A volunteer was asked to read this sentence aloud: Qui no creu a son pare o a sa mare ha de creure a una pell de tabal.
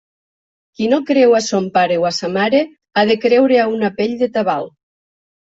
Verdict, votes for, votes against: accepted, 2, 0